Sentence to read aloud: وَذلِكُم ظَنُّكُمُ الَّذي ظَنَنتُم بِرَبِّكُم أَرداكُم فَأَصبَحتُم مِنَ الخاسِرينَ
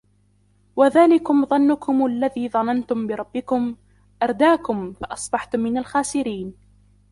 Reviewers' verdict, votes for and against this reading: rejected, 1, 2